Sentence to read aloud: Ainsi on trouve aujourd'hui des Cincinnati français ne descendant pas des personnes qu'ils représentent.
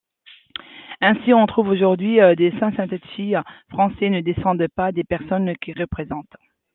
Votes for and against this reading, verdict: 0, 2, rejected